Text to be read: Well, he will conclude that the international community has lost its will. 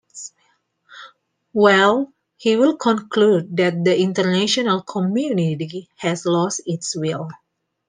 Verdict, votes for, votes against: accepted, 2, 0